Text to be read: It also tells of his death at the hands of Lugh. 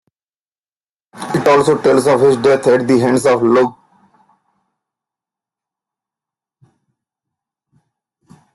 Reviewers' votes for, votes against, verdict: 0, 2, rejected